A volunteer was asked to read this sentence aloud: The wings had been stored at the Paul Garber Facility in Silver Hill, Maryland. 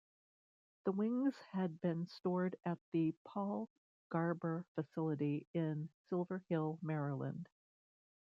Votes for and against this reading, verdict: 2, 0, accepted